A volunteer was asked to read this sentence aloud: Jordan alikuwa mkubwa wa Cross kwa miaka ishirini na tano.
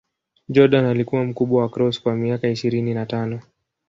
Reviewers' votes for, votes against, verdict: 3, 0, accepted